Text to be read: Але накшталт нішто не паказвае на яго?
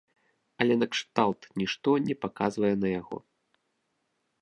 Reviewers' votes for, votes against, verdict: 2, 0, accepted